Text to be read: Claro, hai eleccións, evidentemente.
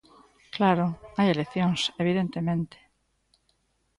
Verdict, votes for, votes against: rejected, 1, 2